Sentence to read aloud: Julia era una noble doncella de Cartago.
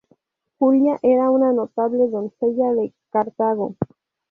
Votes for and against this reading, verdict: 0, 2, rejected